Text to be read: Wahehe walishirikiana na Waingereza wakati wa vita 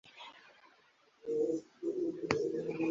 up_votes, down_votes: 0, 2